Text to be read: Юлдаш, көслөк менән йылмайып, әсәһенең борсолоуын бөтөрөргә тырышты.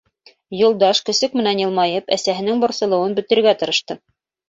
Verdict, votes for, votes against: rejected, 0, 2